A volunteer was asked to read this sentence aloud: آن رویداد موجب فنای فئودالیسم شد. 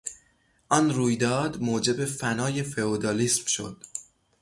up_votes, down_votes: 0, 3